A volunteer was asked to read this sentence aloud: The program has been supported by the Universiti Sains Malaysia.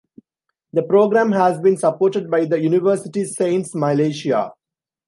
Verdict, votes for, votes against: accepted, 2, 0